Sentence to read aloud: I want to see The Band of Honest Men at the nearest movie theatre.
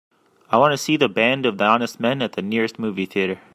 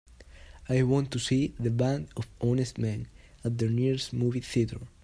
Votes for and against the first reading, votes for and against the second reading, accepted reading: 0, 2, 2, 0, second